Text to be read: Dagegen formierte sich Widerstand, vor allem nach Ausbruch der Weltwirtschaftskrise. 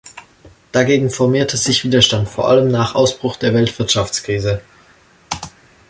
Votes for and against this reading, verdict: 2, 0, accepted